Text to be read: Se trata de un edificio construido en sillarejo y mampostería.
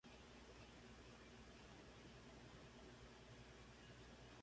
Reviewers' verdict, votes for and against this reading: rejected, 0, 2